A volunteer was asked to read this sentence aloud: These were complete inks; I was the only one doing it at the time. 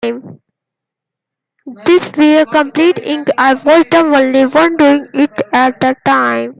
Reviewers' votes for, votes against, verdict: 2, 1, accepted